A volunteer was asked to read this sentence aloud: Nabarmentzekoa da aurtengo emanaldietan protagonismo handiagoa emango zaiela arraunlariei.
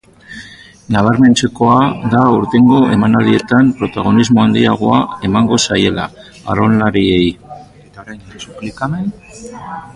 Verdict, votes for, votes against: rejected, 1, 2